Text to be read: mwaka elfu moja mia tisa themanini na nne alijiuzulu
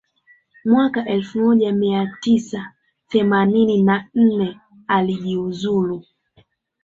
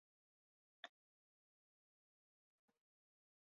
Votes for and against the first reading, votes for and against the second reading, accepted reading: 3, 0, 1, 2, first